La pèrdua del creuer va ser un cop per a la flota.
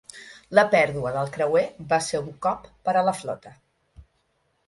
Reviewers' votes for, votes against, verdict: 6, 0, accepted